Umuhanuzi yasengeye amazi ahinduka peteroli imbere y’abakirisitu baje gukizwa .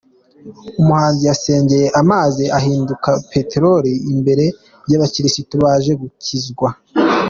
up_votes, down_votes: 2, 0